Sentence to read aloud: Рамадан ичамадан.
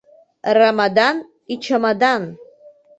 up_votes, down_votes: 2, 0